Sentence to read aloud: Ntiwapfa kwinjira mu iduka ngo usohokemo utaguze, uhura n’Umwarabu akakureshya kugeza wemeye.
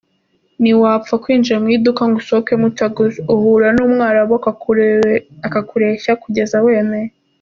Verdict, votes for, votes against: rejected, 1, 2